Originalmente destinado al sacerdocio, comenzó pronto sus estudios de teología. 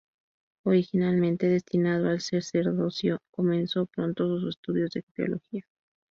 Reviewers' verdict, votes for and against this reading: accepted, 2, 0